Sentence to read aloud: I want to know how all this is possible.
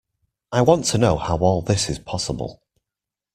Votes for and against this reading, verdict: 2, 0, accepted